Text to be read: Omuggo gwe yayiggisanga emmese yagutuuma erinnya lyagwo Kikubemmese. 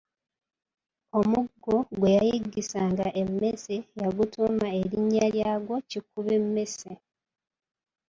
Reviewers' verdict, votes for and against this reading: rejected, 1, 2